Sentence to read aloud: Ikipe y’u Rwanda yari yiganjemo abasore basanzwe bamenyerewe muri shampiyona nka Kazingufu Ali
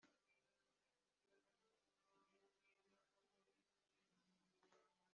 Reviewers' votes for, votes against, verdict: 0, 3, rejected